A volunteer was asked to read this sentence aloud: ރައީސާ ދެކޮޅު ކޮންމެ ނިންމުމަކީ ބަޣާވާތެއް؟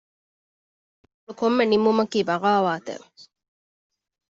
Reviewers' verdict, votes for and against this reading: rejected, 0, 2